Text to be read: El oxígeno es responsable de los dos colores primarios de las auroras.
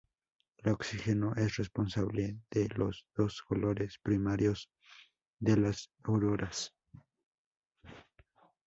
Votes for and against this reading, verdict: 0, 2, rejected